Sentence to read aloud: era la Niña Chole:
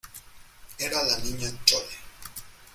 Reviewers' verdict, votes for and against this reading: accepted, 2, 0